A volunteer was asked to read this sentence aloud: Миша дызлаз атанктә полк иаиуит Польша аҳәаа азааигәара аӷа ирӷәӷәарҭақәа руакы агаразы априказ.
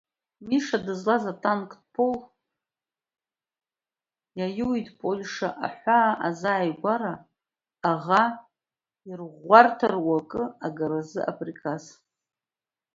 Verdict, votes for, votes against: rejected, 1, 2